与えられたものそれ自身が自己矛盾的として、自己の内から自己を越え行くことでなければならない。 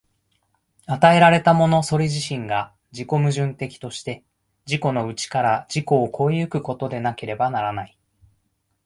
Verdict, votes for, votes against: accepted, 2, 0